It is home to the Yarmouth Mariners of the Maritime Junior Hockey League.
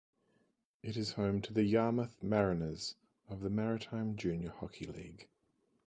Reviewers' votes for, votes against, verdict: 4, 0, accepted